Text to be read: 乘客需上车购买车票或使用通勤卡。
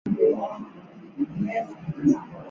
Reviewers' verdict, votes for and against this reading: rejected, 0, 4